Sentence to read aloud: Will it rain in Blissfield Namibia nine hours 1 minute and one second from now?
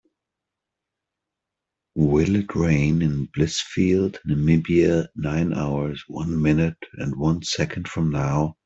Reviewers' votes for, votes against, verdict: 0, 2, rejected